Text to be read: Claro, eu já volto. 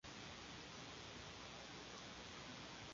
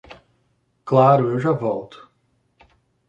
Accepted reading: second